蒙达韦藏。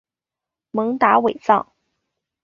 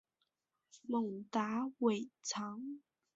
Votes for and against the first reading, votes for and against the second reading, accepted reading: 0, 2, 3, 0, second